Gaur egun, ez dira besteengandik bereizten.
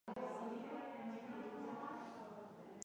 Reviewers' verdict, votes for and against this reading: rejected, 0, 2